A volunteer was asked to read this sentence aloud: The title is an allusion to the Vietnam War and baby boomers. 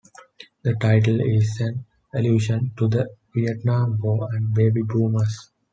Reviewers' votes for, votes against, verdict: 2, 0, accepted